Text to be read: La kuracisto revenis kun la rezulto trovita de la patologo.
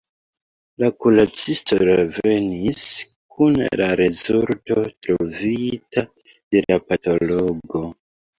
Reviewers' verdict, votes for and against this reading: rejected, 0, 2